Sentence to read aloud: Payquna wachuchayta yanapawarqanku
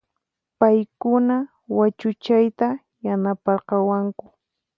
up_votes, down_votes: 0, 4